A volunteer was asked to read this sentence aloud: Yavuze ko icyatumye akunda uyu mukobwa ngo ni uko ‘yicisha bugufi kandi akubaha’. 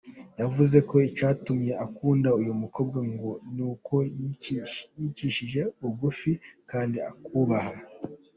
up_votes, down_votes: 1, 2